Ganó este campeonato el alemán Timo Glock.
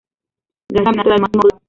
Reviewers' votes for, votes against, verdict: 0, 2, rejected